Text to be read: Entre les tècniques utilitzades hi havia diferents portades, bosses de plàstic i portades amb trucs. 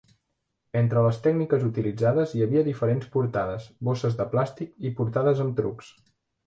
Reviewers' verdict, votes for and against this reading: accepted, 2, 0